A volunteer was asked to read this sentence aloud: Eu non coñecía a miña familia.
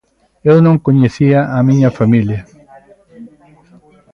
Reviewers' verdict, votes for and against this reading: rejected, 2, 3